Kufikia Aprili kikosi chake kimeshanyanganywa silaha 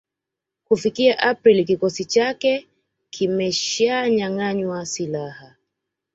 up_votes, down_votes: 2, 1